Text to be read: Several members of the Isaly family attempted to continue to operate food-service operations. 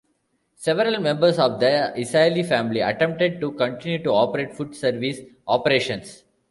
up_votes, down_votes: 0, 2